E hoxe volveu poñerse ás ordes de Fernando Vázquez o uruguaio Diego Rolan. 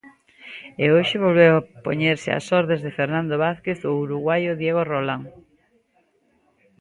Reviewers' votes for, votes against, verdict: 1, 2, rejected